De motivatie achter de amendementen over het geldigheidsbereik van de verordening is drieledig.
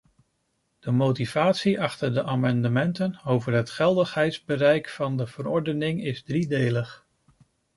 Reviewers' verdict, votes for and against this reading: rejected, 0, 2